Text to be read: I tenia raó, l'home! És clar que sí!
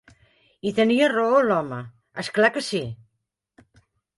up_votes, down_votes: 2, 0